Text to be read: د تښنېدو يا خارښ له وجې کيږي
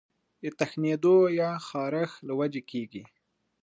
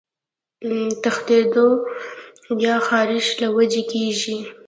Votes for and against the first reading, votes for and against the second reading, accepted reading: 2, 1, 1, 2, first